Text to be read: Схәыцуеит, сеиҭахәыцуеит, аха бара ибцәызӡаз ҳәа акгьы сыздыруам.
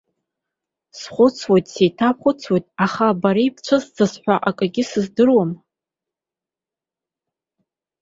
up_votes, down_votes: 1, 2